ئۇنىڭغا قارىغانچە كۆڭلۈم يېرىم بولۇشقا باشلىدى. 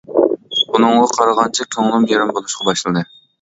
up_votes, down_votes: 2, 1